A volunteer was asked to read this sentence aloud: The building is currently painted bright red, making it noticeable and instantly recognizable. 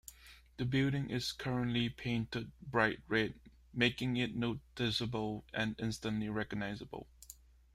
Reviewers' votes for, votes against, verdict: 2, 0, accepted